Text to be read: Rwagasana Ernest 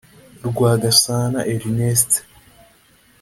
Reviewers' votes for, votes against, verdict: 2, 0, accepted